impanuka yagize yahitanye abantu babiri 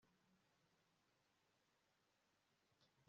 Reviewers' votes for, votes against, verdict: 0, 2, rejected